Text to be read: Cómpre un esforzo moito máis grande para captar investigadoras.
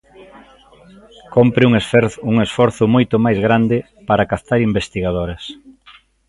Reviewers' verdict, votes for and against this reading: rejected, 0, 2